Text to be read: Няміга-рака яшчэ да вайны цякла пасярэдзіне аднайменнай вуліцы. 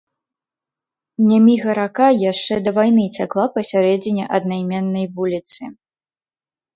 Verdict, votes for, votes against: accepted, 2, 0